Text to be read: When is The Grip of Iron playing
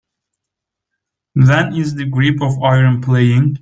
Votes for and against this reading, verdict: 2, 1, accepted